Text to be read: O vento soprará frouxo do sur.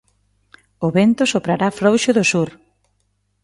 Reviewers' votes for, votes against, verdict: 2, 0, accepted